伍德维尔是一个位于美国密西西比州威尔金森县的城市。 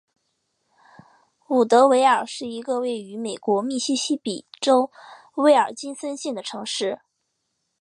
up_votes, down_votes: 4, 0